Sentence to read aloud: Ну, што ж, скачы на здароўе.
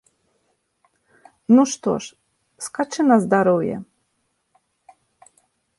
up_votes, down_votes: 2, 0